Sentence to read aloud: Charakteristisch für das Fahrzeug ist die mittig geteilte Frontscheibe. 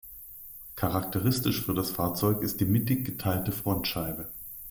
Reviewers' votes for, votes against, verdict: 2, 0, accepted